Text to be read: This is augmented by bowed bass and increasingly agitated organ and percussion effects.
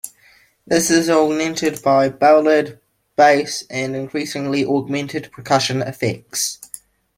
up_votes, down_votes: 0, 2